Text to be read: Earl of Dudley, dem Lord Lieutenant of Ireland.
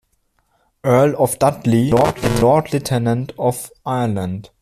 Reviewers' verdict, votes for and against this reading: rejected, 0, 2